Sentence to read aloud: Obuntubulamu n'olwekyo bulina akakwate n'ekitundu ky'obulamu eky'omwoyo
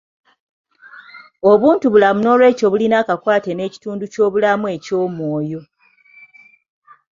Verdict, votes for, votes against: accepted, 2, 0